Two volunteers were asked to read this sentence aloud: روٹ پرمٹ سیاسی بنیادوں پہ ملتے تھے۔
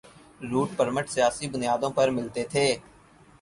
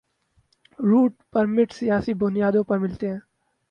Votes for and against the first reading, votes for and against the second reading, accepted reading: 8, 0, 0, 4, first